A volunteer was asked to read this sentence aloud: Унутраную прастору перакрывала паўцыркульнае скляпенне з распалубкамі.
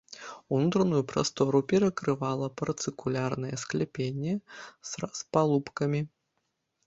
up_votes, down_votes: 0, 2